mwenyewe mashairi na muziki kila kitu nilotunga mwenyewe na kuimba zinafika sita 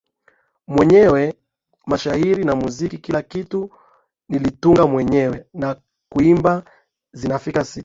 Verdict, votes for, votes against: rejected, 3, 3